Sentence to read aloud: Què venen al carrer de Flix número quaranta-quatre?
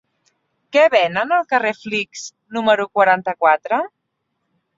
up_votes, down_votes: 3, 4